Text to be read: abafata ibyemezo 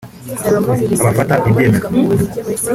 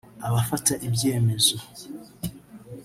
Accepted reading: first